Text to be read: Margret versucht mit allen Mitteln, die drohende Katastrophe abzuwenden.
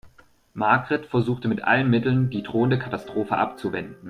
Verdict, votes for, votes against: accepted, 2, 0